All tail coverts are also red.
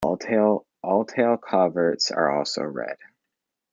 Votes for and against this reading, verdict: 2, 1, accepted